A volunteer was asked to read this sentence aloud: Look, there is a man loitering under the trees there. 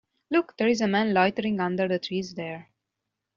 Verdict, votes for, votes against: accepted, 2, 0